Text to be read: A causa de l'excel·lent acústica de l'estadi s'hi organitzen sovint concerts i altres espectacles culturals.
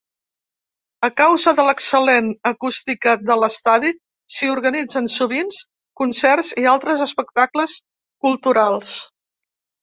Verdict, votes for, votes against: rejected, 0, 2